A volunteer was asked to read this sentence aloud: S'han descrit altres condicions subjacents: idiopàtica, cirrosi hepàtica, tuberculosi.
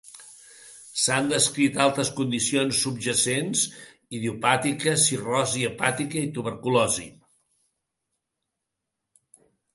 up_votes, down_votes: 2, 1